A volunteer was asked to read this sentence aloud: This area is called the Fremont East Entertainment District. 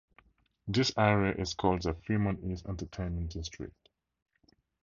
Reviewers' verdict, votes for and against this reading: rejected, 2, 2